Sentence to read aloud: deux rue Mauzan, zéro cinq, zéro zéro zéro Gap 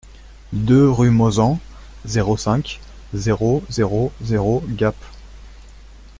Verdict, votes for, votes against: accepted, 2, 0